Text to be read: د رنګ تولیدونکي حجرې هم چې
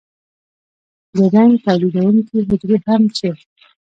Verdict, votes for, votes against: rejected, 1, 2